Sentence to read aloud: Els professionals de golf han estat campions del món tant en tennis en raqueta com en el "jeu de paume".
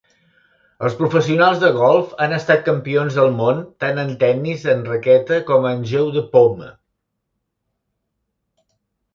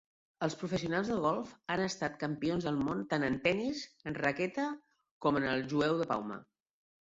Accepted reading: first